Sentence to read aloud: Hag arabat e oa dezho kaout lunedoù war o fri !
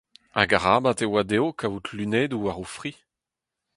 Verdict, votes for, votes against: rejected, 2, 4